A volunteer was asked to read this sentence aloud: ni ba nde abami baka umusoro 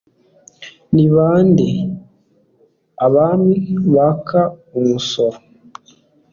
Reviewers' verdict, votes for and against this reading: accepted, 2, 0